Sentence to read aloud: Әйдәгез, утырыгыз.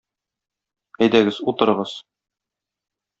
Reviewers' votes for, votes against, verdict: 2, 0, accepted